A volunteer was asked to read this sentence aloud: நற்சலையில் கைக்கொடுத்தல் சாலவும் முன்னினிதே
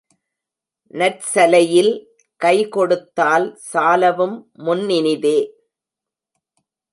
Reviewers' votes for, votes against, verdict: 1, 2, rejected